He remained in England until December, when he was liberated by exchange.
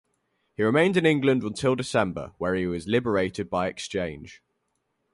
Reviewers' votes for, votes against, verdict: 4, 0, accepted